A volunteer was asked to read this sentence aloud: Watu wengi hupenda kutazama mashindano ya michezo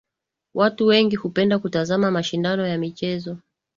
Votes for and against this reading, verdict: 1, 2, rejected